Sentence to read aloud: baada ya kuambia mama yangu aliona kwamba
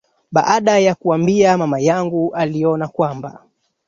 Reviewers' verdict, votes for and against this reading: rejected, 0, 2